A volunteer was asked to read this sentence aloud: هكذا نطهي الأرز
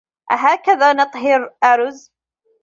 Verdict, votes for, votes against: rejected, 1, 2